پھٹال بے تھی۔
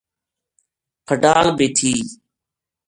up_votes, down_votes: 2, 0